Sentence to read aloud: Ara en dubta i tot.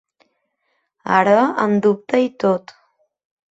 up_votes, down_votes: 4, 0